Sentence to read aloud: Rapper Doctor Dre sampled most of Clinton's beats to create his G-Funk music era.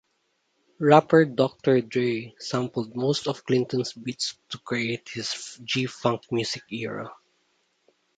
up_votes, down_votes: 0, 2